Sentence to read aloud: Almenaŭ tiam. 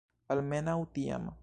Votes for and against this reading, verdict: 1, 2, rejected